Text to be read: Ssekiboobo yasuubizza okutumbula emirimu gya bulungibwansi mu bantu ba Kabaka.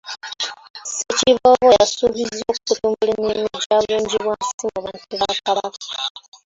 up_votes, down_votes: 0, 2